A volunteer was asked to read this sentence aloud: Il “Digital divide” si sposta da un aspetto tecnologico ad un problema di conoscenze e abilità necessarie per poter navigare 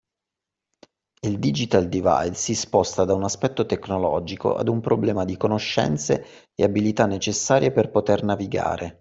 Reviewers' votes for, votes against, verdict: 2, 0, accepted